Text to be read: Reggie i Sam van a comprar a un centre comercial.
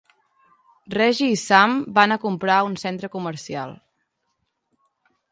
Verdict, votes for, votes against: accepted, 2, 0